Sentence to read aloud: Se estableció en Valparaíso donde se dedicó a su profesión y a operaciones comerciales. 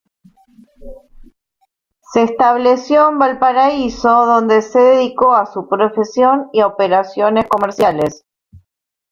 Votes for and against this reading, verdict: 0, 2, rejected